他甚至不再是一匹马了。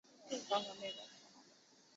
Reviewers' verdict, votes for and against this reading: accepted, 3, 2